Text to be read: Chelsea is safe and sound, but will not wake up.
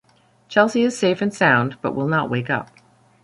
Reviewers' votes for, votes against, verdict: 2, 0, accepted